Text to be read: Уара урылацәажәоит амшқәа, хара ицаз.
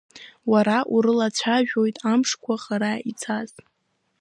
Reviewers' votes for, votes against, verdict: 2, 1, accepted